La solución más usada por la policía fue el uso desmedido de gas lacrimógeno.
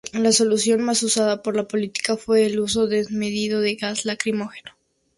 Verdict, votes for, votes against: accepted, 2, 0